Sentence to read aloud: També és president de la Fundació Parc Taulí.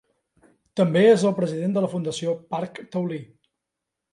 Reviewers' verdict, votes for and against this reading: rejected, 1, 2